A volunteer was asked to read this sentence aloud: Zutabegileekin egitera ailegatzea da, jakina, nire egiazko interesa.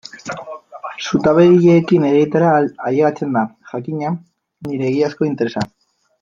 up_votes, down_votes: 1, 2